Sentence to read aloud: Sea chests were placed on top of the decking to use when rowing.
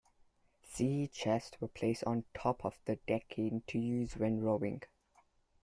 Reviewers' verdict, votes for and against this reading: accepted, 2, 0